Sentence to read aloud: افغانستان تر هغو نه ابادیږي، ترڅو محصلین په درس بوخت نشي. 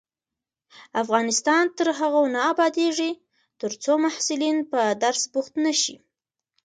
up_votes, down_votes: 0, 2